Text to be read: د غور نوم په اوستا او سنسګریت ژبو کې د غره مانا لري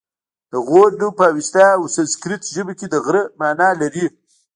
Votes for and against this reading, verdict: 0, 2, rejected